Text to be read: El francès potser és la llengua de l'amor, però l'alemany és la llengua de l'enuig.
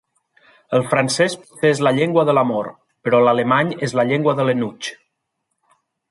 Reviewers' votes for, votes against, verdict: 0, 2, rejected